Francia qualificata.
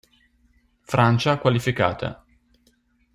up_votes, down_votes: 2, 0